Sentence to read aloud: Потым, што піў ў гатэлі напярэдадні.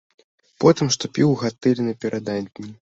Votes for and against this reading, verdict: 0, 2, rejected